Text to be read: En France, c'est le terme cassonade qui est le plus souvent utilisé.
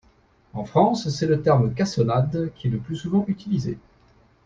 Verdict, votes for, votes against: accepted, 2, 0